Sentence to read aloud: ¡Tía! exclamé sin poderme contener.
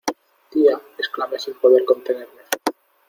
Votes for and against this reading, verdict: 1, 2, rejected